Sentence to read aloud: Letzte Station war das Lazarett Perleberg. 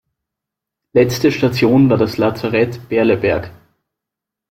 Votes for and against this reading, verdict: 1, 2, rejected